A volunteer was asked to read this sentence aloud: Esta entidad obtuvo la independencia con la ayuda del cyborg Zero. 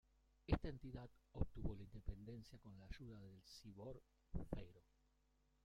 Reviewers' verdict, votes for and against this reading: rejected, 0, 2